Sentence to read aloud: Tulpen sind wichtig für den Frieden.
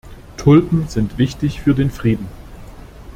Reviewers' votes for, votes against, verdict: 2, 0, accepted